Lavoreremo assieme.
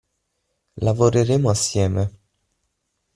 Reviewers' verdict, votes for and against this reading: accepted, 6, 0